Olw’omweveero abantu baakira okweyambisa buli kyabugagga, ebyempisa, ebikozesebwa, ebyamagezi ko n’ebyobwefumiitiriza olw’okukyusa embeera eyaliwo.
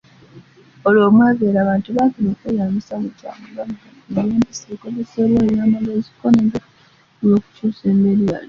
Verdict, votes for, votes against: accepted, 2, 1